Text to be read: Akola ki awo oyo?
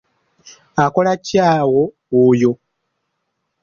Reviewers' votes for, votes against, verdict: 2, 1, accepted